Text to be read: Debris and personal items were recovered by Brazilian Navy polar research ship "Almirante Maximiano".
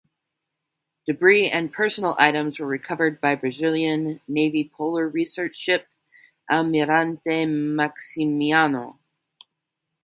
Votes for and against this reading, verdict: 6, 0, accepted